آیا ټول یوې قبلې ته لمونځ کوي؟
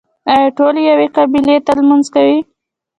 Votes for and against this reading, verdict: 2, 0, accepted